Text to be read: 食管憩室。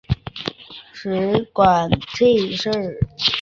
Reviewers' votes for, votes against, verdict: 0, 2, rejected